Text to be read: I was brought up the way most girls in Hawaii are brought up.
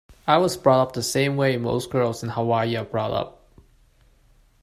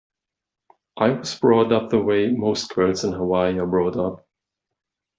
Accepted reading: second